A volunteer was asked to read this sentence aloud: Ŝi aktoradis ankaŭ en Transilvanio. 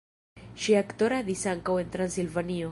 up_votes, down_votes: 0, 2